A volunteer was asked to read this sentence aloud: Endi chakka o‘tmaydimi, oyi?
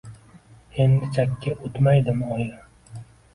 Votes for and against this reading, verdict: 1, 2, rejected